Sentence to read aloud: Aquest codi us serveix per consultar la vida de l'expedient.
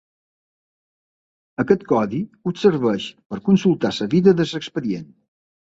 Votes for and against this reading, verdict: 1, 2, rejected